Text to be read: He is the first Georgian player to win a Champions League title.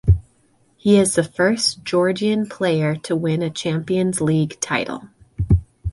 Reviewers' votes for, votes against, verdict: 2, 0, accepted